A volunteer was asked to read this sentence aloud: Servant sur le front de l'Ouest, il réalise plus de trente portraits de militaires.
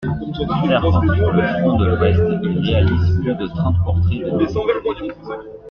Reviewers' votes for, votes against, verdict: 0, 2, rejected